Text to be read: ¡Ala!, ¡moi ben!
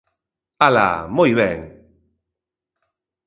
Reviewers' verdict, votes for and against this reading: accepted, 2, 0